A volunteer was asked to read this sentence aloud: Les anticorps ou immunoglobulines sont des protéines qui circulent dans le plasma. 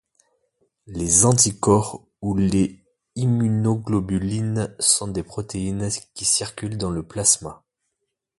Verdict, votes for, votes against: rejected, 1, 2